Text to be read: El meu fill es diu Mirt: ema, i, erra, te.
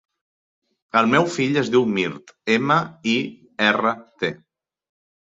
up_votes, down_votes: 4, 0